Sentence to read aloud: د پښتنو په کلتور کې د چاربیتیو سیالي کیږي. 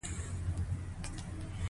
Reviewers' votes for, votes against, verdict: 0, 2, rejected